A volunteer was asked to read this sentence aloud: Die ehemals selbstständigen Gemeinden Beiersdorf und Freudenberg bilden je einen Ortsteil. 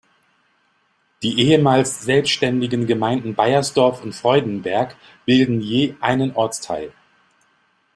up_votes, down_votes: 2, 0